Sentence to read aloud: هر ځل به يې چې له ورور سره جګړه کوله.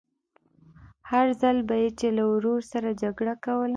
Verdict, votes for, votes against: accepted, 2, 0